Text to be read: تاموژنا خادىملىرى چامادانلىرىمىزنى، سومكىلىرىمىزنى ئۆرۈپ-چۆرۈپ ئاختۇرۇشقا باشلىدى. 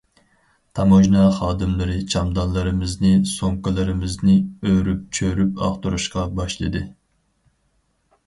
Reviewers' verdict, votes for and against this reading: rejected, 0, 4